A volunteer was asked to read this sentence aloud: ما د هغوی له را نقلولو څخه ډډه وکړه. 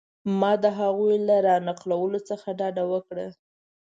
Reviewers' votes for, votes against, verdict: 3, 1, accepted